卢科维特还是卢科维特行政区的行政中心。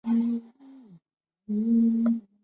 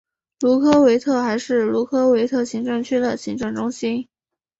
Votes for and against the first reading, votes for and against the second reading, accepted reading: 0, 2, 3, 0, second